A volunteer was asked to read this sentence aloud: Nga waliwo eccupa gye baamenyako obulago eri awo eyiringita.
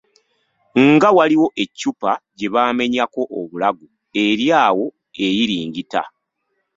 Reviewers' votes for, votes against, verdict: 1, 2, rejected